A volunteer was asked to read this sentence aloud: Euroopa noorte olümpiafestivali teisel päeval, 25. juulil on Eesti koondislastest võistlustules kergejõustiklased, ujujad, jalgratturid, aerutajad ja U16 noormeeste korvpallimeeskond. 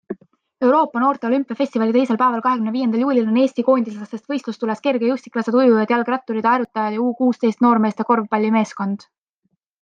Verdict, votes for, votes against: rejected, 0, 2